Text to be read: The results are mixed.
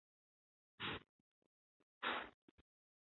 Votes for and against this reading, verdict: 0, 2, rejected